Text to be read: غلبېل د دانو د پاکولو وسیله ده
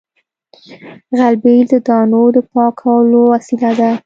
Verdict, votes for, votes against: accepted, 3, 0